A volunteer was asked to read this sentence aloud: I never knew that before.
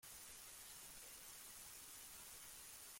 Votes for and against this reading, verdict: 0, 2, rejected